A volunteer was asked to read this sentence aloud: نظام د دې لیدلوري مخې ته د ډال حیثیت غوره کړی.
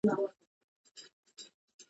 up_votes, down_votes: 1, 2